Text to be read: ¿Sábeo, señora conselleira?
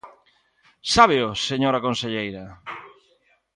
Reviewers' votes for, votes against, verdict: 2, 0, accepted